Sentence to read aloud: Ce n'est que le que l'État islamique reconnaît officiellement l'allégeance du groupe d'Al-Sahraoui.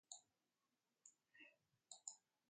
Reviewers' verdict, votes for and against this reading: rejected, 0, 3